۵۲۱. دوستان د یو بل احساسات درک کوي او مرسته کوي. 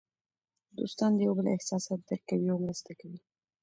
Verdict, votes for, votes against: rejected, 0, 2